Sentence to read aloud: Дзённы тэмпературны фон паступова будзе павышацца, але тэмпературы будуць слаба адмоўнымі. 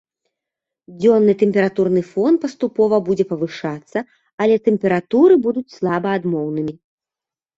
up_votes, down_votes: 2, 0